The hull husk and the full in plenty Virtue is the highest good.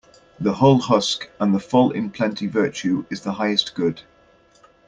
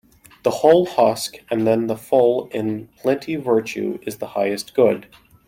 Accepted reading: first